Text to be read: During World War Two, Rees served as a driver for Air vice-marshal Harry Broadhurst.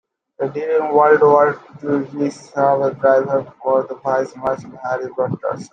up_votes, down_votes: 0, 2